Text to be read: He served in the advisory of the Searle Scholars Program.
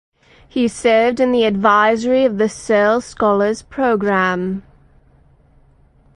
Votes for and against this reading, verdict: 4, 0, accepted